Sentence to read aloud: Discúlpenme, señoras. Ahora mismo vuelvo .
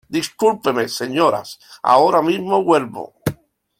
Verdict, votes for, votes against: accepted, 2, 0